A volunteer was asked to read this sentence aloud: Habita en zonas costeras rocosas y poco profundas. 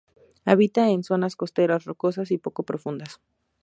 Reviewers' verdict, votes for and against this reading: accepted, 2, 0